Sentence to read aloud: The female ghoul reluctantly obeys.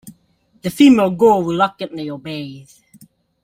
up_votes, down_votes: 2, 1